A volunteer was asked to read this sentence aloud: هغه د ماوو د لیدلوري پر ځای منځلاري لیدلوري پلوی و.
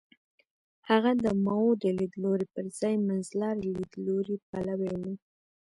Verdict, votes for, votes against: accepted, 2, 0